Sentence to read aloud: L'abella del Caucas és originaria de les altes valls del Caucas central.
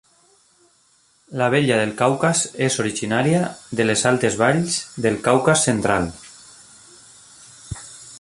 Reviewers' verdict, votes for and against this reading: accepted, 2, 0